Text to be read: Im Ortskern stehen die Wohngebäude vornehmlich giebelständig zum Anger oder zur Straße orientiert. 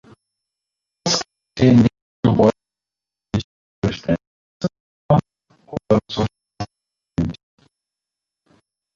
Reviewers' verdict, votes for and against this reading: rejected, 0, 2